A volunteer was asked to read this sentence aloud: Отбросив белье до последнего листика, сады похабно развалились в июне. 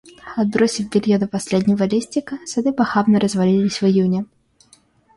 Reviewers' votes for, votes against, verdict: 2, 0, accepted